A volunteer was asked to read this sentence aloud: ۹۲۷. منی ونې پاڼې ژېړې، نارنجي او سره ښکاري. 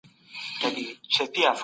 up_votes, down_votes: 0, 2